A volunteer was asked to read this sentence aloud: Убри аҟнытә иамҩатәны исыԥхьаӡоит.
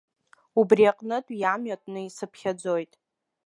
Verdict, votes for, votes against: accepted, 2, 0